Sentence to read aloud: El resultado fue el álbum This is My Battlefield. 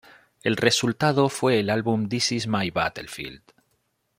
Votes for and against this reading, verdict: 2, 0, accepted